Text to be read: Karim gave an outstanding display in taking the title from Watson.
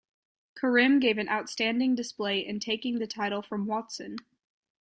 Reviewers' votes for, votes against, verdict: 2, 0, accepted